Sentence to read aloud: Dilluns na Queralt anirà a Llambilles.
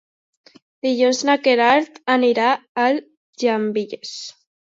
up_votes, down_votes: 0, 2